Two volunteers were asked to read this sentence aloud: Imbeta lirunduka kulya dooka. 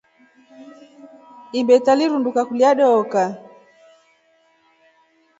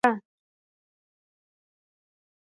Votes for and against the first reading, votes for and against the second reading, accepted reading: 2, 0, 0, 2, first